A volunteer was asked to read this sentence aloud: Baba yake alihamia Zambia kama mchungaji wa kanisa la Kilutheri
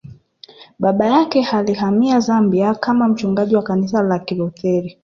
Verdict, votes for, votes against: rejected, 1, 2